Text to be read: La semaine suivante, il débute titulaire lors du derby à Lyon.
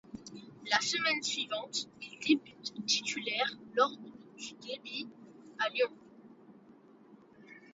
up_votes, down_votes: 1, 2